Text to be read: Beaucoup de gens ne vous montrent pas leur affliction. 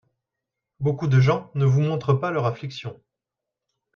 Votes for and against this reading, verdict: 2, 0, accepted